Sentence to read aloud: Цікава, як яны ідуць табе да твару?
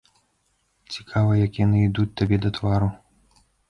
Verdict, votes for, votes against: accepted, 2, 1